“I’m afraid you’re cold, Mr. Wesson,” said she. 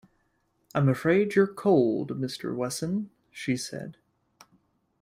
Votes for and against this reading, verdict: 1, 2, rejected